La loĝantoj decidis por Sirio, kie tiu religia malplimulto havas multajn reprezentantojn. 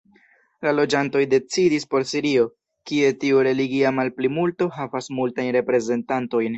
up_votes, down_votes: 2, 0